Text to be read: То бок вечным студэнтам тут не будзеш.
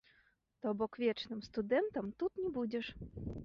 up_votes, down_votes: 1, 2